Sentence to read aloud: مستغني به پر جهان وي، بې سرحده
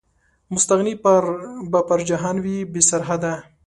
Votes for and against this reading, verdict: 2, 1, accepted